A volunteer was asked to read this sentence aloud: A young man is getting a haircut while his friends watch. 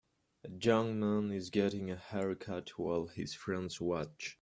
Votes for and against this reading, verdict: 1, 2, rejected